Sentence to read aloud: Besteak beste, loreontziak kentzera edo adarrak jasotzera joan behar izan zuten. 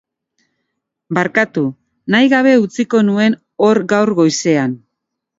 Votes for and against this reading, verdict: 0, 2, rejected